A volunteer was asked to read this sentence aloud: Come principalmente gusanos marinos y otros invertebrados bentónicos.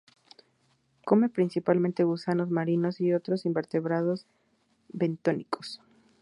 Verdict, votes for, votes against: accepted, 2, 0